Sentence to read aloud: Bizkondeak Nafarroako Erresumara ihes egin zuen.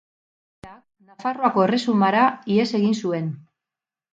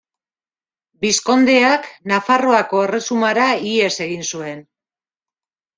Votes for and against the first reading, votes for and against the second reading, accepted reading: 0, 2, 2, 0, second